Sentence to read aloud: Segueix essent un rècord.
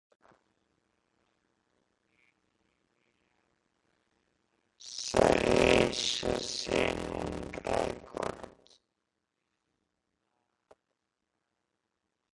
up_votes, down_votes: 0, 2